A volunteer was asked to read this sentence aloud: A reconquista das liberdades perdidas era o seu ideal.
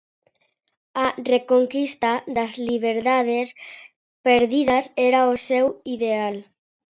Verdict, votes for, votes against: accepted, 2, 0